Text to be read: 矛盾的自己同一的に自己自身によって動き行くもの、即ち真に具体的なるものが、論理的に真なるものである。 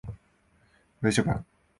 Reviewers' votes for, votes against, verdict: 0, 2, rejected